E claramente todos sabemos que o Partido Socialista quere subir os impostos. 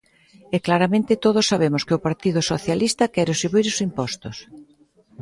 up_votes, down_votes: 2, 0